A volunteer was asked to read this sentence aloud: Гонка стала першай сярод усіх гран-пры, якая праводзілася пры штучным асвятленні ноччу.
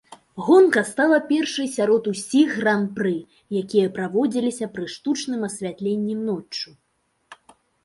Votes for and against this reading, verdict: 1, 2, rejected